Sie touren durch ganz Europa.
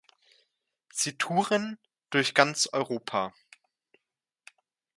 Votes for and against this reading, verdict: 2, 0, accepted